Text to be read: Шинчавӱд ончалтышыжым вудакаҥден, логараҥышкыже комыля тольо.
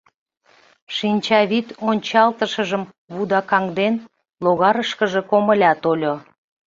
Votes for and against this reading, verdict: 0, 2, rejected